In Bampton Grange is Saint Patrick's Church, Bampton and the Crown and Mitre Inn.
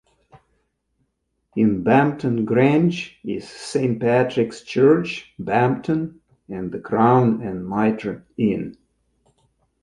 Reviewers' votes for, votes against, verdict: 2, 0, accepted